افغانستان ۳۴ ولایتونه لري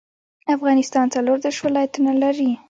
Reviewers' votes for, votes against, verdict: 0, 2, rejected